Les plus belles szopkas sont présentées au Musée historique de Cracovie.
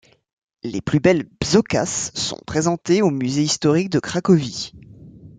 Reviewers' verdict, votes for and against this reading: rejected, 1, 2